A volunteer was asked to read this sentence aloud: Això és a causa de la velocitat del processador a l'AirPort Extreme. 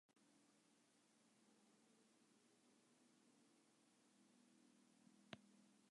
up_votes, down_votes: 0, 2